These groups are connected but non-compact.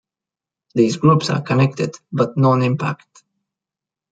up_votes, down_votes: 0, 2